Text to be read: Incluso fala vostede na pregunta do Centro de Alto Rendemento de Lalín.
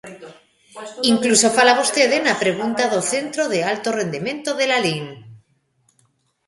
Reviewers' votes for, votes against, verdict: 0, 2, rejected